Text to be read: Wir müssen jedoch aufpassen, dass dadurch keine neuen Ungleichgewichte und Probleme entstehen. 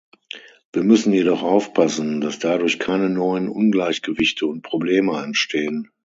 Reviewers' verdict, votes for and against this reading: rejected, 3, 6